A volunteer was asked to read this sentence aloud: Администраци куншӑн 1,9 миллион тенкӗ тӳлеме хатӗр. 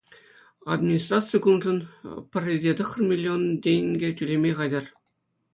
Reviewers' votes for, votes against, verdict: 0, 2, rejected